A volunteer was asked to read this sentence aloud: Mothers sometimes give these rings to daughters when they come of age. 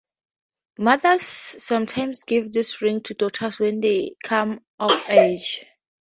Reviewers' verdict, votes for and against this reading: rejected, 0, 2